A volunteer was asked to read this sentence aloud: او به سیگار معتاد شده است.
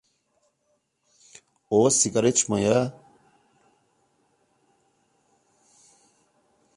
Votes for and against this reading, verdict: 0, 2, rejected